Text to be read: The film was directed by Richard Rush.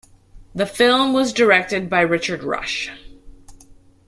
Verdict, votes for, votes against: accepted, 2, 0